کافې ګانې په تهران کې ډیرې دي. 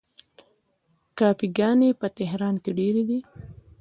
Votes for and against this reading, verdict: 1, 2, rejected